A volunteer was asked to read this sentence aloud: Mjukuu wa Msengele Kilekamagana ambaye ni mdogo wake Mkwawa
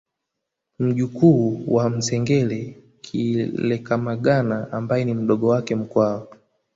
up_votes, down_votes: 1, 2